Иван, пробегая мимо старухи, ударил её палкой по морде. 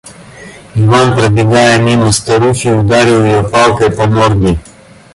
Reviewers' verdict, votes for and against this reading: accepted, 2, 0